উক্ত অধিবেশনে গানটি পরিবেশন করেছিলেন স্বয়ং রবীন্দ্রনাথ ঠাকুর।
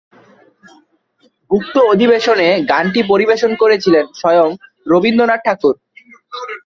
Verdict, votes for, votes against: accepted, 2, 0